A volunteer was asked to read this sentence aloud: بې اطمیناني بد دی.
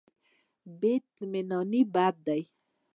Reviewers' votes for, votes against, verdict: 1, 2, rejected